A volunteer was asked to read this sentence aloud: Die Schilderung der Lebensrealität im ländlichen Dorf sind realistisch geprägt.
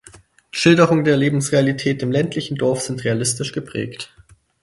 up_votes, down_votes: 0, 4